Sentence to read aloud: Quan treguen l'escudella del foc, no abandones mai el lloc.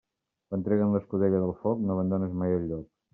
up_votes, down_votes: 2, 0